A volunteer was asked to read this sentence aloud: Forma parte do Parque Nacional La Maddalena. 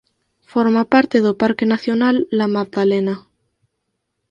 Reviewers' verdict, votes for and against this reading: accepted, 6, 0